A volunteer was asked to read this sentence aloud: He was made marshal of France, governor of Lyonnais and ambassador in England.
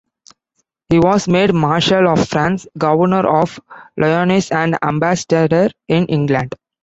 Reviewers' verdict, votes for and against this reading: rejected, 1, 2